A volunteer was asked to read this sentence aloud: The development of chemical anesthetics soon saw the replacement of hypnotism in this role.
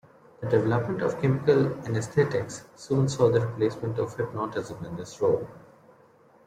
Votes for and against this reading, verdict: 2, 0, accepted